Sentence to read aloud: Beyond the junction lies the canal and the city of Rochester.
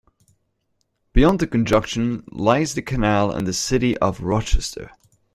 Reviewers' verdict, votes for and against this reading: rejected, 0, 2